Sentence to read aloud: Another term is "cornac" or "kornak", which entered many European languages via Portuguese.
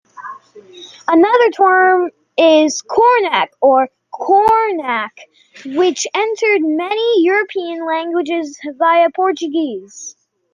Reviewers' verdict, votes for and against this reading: accepted, 2, 0